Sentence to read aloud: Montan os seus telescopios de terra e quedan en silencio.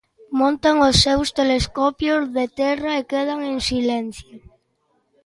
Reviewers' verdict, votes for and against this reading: accepted, 2, 0